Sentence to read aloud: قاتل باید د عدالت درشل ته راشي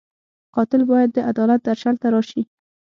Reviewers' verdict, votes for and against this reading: accepted, 6, 0